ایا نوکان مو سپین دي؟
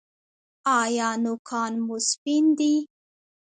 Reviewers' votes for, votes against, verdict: 1, 2, rejected